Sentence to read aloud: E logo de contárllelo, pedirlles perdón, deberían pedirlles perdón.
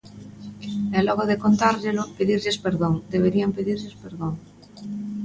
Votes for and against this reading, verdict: 2, 0, accepted